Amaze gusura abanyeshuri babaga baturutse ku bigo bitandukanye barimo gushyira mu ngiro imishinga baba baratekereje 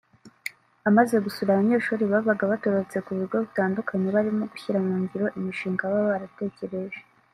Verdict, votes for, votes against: rejected, 1, 2